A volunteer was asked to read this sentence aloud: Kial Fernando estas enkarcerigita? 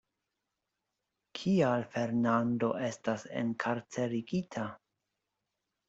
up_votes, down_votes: 2, 0